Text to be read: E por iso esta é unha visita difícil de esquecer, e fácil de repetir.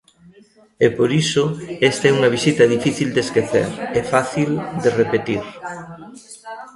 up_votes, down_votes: 1, 2